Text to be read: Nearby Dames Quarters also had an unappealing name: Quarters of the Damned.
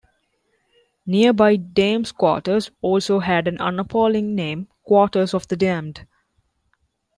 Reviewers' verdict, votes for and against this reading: rejected, 0, 2